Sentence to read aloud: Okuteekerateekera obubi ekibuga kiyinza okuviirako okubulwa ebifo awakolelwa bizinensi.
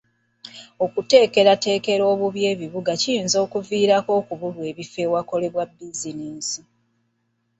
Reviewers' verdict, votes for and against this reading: accepted, 2, 0